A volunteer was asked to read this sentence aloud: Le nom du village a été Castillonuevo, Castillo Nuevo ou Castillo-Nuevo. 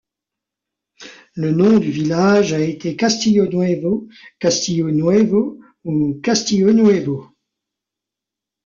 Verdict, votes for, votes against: accepted, 2, 0